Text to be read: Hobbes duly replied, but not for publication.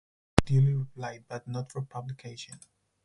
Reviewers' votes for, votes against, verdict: 0, 4, rejected